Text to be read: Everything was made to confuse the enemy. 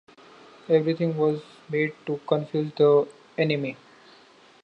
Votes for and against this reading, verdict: 1, 2, rejected